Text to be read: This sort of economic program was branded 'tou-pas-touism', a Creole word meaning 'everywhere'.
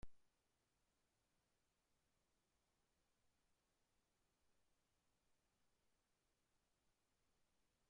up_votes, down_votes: 0, 2